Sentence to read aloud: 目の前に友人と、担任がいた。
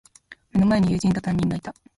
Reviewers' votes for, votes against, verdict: 2, 1, accepted